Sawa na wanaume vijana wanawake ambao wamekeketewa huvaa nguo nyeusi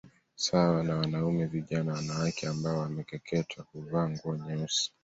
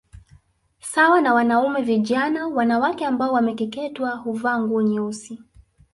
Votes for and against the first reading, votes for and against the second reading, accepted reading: 2, 0, 0, 2, first